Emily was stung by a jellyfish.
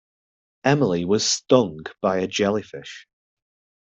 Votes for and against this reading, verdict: 2, 0, accepted